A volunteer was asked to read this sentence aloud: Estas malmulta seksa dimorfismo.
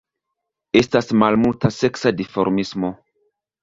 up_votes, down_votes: 2, 0